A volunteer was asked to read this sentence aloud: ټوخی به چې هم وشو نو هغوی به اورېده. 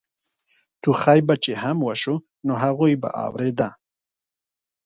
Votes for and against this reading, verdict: 2, 0, accepted